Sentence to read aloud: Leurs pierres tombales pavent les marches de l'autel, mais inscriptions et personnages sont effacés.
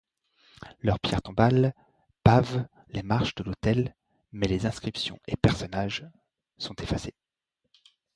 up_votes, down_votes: 0, 2